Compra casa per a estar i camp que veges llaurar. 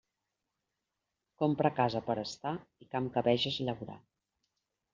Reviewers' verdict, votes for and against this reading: accepted, 2, 0